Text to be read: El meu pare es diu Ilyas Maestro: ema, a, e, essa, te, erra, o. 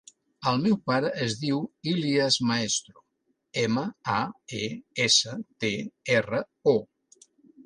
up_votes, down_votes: 3, 0